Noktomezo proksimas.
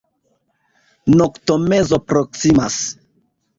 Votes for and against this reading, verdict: 2, 0, accepted